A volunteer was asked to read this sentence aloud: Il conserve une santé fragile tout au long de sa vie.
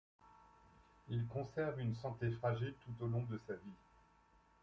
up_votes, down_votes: 2, 0